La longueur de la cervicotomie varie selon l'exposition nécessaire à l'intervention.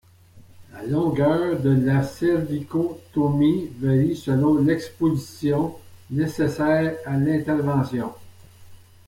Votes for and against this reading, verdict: 2, 0, accepted